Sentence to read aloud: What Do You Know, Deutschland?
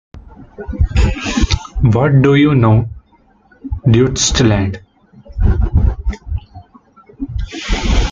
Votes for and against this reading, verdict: 0, 2, rejected